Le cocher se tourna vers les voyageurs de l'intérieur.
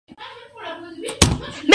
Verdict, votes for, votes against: rejected, 0, 2